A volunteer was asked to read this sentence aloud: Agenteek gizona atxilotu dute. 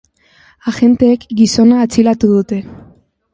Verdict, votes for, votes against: rejected, 2, 4